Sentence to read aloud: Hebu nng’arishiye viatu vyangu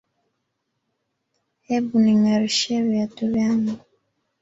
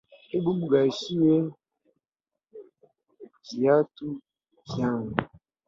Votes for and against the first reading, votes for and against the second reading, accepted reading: 0, 2, 2, 0, second